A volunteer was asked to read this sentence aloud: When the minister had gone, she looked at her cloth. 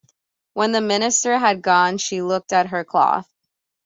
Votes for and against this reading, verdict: 2, 0, accepted